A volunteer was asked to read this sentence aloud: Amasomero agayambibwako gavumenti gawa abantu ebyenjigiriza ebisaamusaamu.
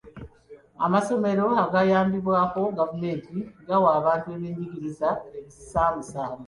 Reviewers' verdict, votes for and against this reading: accepted, 2, 1